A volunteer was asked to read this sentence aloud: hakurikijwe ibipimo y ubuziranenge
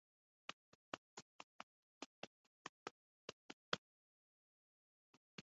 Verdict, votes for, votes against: rejected, 1, 2